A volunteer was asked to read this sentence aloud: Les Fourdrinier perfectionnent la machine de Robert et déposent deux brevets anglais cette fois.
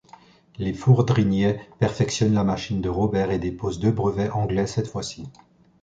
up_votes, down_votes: 1, 2